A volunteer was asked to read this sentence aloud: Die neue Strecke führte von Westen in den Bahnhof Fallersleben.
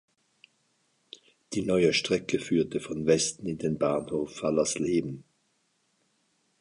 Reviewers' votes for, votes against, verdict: 2, 1, accepted